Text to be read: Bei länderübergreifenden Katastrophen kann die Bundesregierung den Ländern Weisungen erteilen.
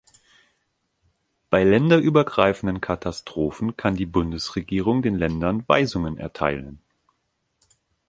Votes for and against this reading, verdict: 2, 0, accepted